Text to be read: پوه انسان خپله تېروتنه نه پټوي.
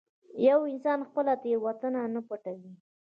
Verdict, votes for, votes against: rejected, 0, 2